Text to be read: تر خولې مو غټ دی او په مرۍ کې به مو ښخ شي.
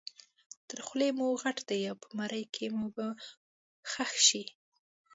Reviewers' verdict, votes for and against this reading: rejected, 0, 2